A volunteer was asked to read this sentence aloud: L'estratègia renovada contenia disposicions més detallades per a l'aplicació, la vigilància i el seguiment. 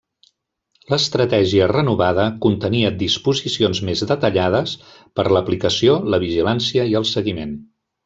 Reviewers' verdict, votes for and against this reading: rejected, 1, 2